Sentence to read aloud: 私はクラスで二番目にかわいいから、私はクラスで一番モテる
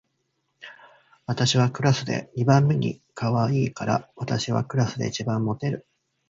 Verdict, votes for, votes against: accepted, 2, 1